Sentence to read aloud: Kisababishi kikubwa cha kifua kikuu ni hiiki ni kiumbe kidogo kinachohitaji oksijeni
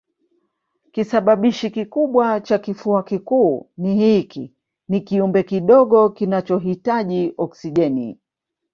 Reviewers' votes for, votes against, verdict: 2, 0, accepted